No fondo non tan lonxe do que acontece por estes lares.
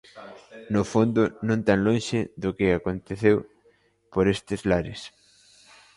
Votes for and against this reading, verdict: 0, 2, rejected